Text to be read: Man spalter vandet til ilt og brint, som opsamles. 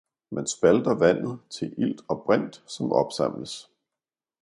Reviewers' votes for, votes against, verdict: 2, 0, accepted